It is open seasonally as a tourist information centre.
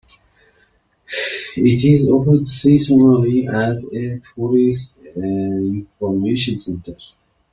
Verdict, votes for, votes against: accepted, 2, 0